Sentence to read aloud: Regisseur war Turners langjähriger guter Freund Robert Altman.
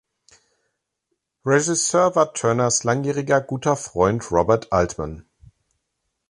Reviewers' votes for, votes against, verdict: 1, 2, rejected